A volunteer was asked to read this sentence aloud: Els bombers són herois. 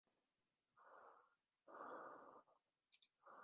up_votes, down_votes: 0, 3